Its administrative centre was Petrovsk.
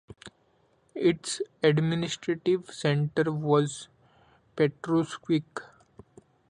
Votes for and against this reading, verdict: 0, 2, rejected